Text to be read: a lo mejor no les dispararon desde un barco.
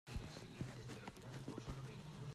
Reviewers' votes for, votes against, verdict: 0, 2, rejected